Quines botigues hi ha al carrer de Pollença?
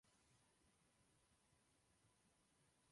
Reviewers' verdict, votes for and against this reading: rejected, 0, 3